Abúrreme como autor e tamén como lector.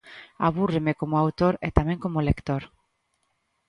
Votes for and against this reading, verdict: 2, 0, accepted